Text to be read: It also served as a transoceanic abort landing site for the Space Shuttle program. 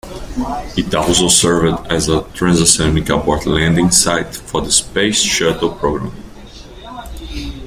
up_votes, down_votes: 0, 2